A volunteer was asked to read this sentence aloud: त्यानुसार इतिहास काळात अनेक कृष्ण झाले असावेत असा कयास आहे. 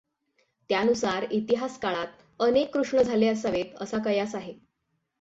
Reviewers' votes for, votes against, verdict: 6, 3, accepted